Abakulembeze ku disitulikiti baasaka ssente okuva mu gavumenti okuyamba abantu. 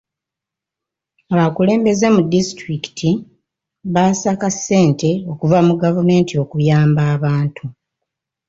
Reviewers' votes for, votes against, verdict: 1, 2, rejected